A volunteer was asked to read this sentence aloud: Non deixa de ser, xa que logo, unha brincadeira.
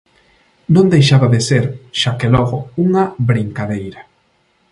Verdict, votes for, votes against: rejected, 0, 2